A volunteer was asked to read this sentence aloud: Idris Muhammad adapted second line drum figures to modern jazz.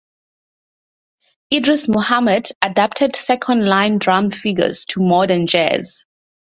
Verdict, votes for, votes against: accepted, 4, 0